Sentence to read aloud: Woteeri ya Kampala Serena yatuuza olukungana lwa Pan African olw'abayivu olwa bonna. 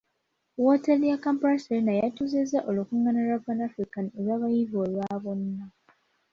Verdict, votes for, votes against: accepted, 3, 1